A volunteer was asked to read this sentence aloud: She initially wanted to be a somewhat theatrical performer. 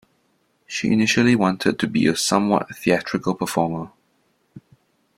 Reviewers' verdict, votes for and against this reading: accepted, 2, 0